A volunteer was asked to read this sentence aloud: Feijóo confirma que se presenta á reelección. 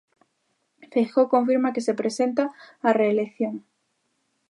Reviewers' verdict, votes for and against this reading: accepted, 2, 0